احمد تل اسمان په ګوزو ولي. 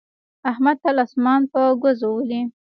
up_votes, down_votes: 2, 0